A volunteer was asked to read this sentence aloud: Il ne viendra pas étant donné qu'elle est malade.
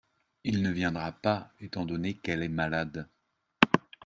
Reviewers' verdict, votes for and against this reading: accepted, 2, 0